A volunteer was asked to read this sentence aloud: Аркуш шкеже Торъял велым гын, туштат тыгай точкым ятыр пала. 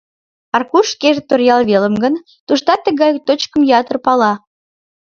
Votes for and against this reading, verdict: 2, 0, accepted